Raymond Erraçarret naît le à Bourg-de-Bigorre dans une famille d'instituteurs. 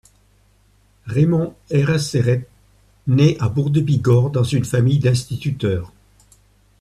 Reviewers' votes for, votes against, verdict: 1, 2, rejected